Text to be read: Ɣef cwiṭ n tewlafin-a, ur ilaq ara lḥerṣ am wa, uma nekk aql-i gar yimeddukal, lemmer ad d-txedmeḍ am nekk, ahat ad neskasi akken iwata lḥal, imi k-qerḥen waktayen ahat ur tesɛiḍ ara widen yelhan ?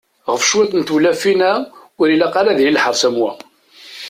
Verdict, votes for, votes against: rejected, 0, 2